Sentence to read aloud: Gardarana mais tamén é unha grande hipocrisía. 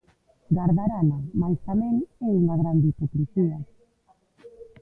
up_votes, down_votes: 2, 1